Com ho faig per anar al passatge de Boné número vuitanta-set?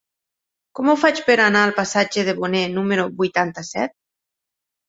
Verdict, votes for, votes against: accepted, 4, 0